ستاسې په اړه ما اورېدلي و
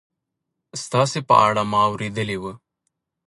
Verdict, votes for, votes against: rejected, 1, 2